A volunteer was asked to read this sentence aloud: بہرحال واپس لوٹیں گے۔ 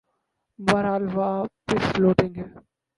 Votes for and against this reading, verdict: 0, 2, rejected